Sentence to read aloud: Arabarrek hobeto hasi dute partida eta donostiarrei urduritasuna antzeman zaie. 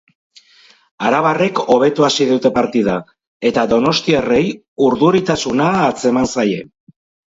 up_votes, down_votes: 2, 2